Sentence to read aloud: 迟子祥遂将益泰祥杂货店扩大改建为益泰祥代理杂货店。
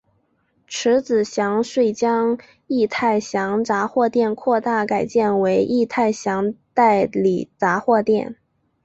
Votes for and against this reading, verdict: 5, 0, accepted